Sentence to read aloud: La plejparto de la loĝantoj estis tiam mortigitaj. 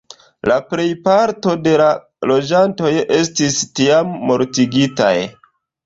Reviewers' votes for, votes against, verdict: 2, 1, accepted